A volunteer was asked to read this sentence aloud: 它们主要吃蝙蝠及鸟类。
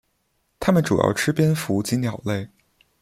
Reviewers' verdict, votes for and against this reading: accepted, 2, 0